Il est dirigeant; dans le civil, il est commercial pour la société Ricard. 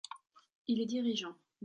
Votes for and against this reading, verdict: 1, 2, rejected